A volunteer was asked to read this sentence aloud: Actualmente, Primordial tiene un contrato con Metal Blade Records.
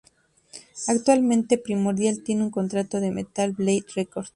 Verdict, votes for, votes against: rejected, 0, 2